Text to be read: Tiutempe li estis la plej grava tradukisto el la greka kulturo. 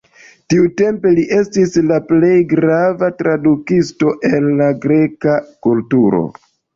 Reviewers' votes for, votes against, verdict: 2, 0, accepted